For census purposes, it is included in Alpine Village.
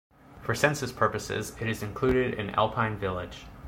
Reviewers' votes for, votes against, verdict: 2, 0, accepted